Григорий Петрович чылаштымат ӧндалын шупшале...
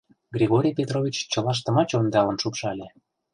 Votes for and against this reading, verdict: 1, 2, rejected